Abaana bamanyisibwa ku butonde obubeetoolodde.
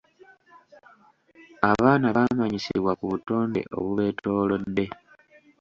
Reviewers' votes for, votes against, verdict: 2, 0, accepted